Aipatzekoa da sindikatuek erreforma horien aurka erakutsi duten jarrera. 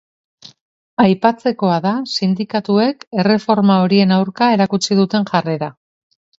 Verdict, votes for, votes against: accepted, 2, 0